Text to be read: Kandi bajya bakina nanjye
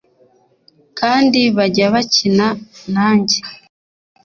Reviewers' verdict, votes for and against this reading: accepted, 2, 0